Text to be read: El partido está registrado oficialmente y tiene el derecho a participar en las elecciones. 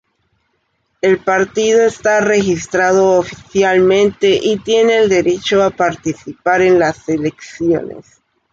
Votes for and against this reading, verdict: 2, 0, accepted